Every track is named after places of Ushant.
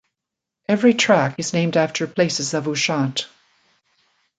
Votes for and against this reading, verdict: 2, 0, accepted